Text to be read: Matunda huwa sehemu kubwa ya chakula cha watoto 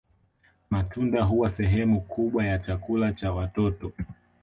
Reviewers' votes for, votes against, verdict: 3, 1, accepted